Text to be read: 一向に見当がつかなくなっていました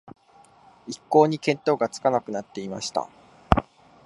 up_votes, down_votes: 2, 0